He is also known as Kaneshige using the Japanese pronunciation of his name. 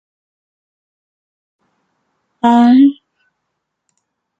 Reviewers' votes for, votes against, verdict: 0, 2, rejected